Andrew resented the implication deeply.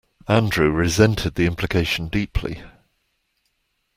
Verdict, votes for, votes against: accepted, 2, 0